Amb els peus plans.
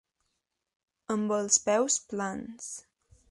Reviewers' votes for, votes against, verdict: 3, 0, accepted